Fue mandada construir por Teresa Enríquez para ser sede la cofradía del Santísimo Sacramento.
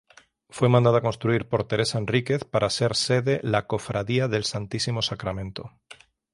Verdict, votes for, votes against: rejected, 0, 3